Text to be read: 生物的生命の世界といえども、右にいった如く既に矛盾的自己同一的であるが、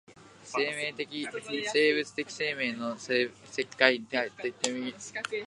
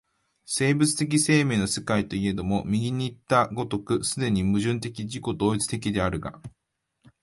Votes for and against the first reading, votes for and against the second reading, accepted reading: 0, 2, 3, 0, second